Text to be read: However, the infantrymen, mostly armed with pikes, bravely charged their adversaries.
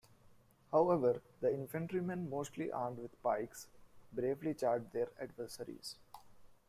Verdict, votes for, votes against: rejected, 0, 2